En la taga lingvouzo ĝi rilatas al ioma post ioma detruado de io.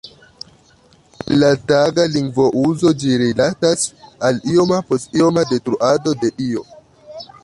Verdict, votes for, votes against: rejected, 1, 2